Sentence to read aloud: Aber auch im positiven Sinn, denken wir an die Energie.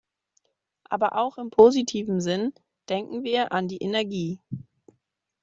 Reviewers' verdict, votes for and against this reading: rejected, 1, 2